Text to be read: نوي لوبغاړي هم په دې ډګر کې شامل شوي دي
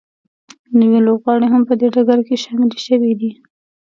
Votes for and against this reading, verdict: 3, 0, accepted